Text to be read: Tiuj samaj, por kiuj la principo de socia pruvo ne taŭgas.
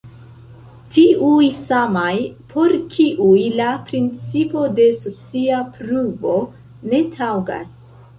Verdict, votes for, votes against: rejected, 0, 2